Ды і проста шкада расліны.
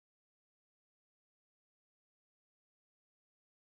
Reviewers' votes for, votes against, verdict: 0, 3, rejected